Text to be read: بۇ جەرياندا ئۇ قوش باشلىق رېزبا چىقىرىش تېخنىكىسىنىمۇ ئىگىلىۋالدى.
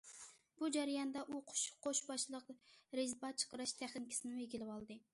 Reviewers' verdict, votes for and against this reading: rejected, 0, 2